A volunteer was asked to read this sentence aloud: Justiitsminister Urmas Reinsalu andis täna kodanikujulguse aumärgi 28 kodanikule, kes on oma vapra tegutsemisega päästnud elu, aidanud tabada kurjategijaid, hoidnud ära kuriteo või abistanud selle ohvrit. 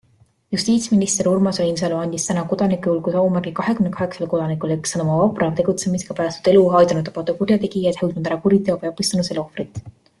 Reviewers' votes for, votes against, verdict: 0, 2, rejected